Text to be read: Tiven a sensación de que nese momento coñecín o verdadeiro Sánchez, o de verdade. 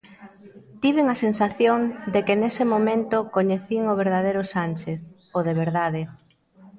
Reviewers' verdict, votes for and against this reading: rejected, 0, 2